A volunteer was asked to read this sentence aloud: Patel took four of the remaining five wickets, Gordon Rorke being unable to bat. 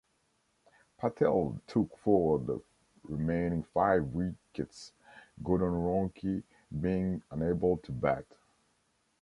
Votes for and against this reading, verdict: 1, 2, rejected